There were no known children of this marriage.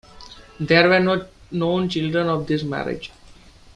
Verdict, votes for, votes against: rejected, 0, 2